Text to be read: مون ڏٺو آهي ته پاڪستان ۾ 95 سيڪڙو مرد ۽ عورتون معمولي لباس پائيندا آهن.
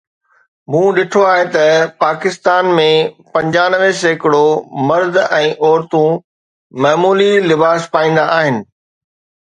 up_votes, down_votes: 0, 2